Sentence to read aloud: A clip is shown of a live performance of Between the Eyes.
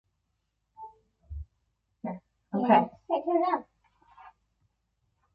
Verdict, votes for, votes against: rejected, 0, 2